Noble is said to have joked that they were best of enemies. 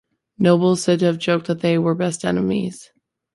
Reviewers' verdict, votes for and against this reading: rejected, 1, 3